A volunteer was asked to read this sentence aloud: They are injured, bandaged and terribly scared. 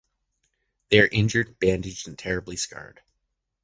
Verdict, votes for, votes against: rejected, 1, 2